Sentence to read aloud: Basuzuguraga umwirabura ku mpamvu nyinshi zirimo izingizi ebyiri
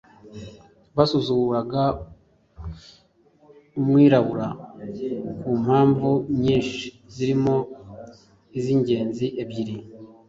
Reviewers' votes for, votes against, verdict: 2, 0, accepted